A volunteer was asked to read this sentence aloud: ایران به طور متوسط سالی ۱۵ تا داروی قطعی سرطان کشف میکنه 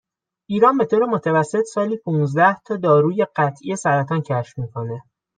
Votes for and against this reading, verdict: 0, 2, rejected